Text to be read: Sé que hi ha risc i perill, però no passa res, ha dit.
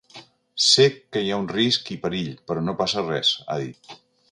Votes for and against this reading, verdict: 0, 2, rejected